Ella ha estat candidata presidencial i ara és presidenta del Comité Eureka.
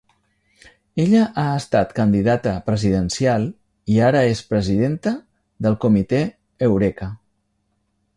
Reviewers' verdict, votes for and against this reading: accepted, 3, 0